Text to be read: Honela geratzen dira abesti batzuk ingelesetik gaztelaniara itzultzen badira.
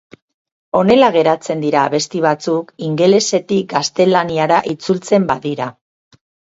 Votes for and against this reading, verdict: 4, 0, accepted